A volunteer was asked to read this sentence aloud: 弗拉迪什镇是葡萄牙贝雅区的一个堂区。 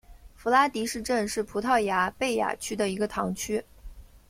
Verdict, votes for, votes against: accepted, 2, 0